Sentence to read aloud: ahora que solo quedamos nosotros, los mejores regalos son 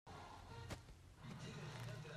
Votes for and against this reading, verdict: 0, 2, rejected